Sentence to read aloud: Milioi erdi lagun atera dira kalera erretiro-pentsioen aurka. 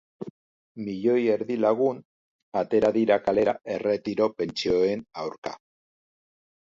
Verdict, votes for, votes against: accepted, 2, 0